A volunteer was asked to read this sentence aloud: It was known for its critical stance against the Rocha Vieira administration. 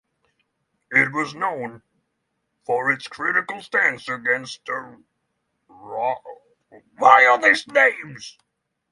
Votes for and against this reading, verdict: 0, 6, rejected